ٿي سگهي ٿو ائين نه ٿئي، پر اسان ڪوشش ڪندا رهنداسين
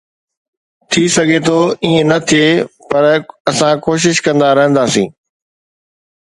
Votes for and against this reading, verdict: 2, 0, accepted